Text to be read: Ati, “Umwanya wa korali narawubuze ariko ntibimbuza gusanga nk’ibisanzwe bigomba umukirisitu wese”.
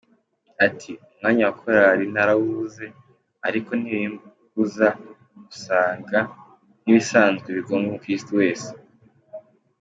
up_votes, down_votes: 3, 1